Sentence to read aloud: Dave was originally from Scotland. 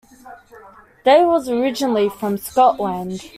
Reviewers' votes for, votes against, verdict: 2, 0, accepted